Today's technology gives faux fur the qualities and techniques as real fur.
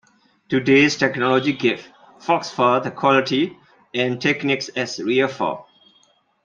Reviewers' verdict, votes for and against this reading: rejected, 1, 2